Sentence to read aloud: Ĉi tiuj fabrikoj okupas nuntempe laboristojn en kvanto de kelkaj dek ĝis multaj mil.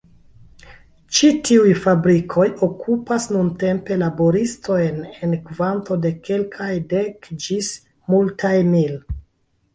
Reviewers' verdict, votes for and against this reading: accepted, 2, 1